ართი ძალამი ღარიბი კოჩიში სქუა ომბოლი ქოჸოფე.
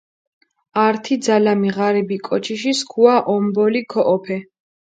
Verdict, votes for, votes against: accepted, 4, 0